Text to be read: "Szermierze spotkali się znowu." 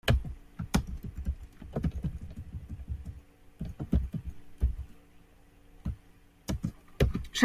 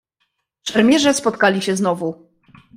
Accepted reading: second